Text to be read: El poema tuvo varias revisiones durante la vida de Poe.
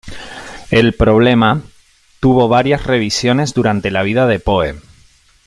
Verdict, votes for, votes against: rejected, 0, 2